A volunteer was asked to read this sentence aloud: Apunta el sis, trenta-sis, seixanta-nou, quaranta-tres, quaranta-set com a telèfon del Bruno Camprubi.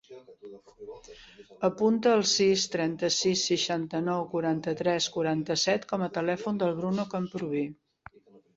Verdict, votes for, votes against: accepted, 2, 0